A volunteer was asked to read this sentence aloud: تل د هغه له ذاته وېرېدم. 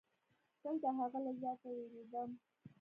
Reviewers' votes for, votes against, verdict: 1, 2, rejected